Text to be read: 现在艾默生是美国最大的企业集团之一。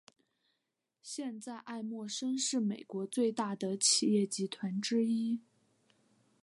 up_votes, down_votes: 2, 0